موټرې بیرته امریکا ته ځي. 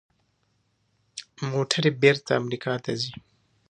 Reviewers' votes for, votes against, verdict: 2, 1, accepted